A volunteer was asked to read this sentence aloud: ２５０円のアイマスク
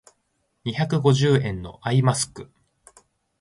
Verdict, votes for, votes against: rejected, 0, 2